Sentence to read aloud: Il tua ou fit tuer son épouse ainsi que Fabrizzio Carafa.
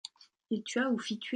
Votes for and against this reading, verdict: 0, 2, rejected